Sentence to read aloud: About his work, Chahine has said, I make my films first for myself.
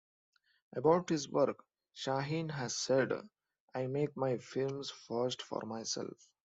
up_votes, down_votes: 1, 2